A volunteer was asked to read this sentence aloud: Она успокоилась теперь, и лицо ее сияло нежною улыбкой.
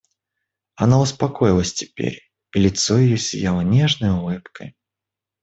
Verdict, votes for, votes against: rejected, 1, 2